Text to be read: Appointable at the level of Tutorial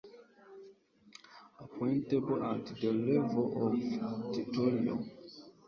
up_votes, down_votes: 1, 3